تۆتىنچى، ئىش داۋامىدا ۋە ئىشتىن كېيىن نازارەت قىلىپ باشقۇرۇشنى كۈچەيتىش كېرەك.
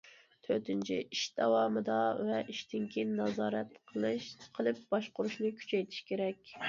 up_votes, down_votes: 0, 2